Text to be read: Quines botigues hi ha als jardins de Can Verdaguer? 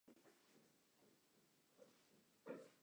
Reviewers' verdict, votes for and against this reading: rejected, 0, 3